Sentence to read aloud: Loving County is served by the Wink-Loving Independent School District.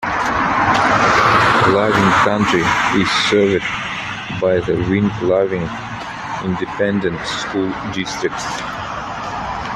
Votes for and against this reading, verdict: 0, 2, rejected